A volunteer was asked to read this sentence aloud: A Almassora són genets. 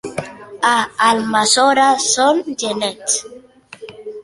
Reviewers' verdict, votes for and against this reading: accepted, 2, 0